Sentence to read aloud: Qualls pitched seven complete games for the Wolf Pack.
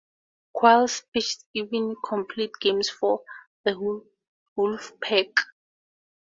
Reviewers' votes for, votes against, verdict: 0, 2, rejected